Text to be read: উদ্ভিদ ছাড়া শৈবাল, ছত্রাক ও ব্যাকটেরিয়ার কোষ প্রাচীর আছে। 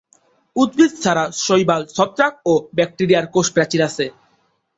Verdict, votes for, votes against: rejected, 1, 2